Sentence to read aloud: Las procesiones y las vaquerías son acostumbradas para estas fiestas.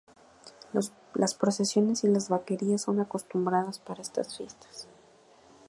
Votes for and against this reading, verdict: 0, 2, rejected